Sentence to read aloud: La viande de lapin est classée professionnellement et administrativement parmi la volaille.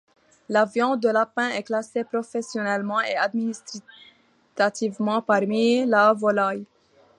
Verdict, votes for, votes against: accepted, 2, 1